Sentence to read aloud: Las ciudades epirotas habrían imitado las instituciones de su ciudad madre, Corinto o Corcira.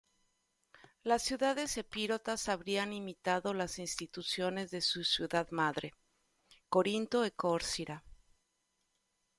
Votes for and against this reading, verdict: 0, 2, rejected